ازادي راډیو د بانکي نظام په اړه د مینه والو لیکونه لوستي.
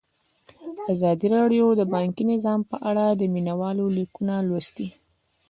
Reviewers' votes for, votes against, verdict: 0, 2, rejected